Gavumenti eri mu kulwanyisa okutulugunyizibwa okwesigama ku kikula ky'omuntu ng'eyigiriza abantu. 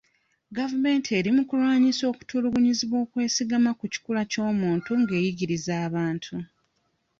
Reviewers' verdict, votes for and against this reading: accepted, 2, 1